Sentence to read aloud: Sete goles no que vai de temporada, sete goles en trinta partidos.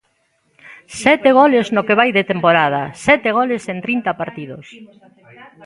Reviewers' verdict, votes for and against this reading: accepted, 2, 0